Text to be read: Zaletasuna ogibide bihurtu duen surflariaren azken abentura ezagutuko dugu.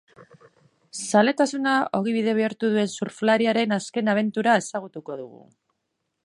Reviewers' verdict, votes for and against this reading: accepted, 2, 0